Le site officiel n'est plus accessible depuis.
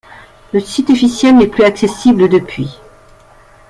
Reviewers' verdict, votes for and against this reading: accepted, 2, 0